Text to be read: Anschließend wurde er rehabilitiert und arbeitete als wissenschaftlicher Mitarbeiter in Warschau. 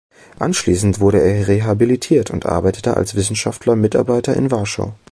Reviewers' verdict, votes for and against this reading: rejected, 0, 2